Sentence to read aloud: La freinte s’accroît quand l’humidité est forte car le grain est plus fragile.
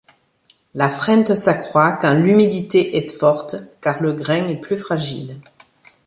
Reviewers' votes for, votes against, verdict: 2, 0, accepted